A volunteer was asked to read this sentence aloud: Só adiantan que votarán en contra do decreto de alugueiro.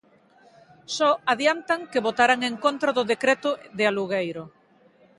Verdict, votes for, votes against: accepted, 2, 0